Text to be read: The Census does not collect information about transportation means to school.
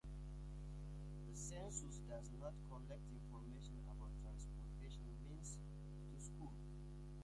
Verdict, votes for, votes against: rejected, 1, 2